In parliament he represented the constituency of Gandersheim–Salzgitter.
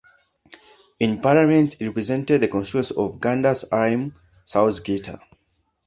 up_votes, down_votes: 1, 2